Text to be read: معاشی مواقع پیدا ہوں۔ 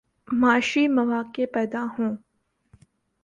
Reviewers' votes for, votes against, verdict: 2, 0, accepted